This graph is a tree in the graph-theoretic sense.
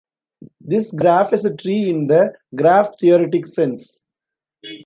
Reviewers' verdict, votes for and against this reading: accepted, 2, 0